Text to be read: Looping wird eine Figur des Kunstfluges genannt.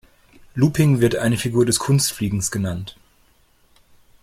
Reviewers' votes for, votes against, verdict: 0, 2, rejected